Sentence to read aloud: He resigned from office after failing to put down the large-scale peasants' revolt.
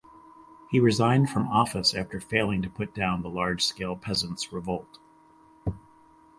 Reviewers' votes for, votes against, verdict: 4, 0, accepted